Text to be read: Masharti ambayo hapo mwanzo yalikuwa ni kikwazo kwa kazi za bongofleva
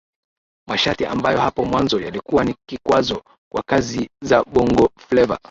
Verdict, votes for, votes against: accepted, 3, 0